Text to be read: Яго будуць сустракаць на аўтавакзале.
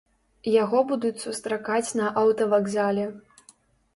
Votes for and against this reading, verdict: 3, 0, accepted